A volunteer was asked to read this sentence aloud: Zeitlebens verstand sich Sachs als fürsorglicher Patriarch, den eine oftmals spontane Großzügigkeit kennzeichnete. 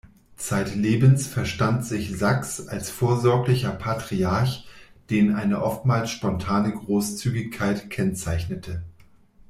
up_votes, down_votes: 1, 2